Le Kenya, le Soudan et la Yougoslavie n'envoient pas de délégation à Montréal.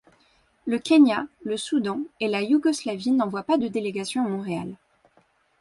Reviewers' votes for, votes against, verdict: 2, 0, accepted